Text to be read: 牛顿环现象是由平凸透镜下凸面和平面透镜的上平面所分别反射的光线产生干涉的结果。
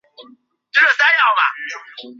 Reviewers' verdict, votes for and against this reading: rejected, 1, 5